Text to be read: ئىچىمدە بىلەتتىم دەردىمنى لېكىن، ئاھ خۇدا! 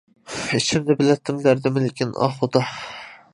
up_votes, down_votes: 2, 0